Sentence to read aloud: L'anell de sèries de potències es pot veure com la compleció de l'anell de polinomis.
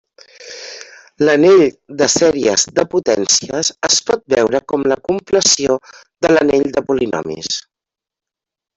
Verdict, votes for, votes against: accepted, 2, 0